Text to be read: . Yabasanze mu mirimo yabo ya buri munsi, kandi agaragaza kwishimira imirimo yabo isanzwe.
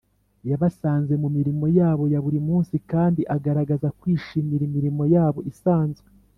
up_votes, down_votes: 2, 0